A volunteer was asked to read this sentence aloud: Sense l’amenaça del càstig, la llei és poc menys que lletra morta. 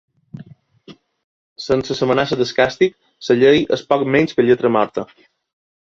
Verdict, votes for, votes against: rejected, 2, 3